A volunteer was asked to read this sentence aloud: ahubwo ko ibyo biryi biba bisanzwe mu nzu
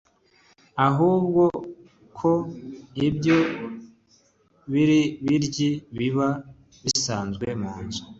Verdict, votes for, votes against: rejected, 1, 2